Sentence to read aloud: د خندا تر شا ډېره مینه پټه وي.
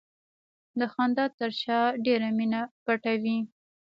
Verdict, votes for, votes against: accepted, 2, 0